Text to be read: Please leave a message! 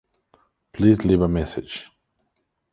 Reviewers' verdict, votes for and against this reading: accepted, 2, 0